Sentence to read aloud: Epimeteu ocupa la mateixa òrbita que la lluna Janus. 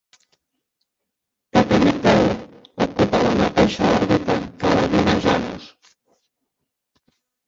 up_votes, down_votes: 0, 3